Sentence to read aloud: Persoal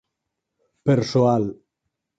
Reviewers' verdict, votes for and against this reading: accepted, 4, 0